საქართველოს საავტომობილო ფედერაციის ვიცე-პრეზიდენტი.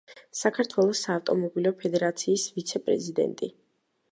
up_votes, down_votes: 2, 0